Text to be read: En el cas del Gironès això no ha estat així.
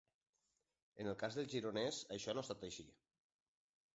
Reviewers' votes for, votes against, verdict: 2, 0, accepted